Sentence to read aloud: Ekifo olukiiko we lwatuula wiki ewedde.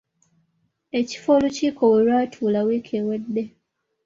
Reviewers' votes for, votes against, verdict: 2, 0, accepted